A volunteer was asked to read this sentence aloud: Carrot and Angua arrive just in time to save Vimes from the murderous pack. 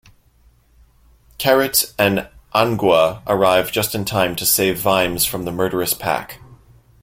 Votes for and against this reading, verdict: 2, 1, accepted